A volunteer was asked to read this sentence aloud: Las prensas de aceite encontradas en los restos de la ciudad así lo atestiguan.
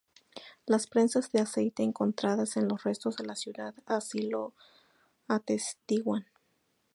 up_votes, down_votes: 2, 4